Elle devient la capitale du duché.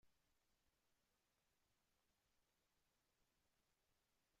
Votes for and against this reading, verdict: 0, 2, rejected